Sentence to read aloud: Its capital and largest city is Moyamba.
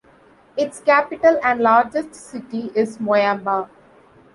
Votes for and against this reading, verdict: 2, 0, accepted